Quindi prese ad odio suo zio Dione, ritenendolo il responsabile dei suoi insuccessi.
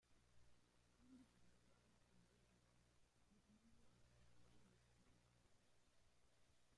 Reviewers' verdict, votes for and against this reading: rejected, 0, 2